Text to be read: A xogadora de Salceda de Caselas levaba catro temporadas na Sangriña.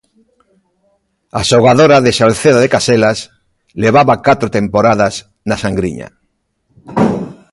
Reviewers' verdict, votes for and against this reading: accepted, 2, 0